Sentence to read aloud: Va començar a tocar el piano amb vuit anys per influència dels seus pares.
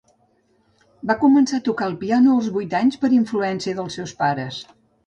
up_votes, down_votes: 0, 2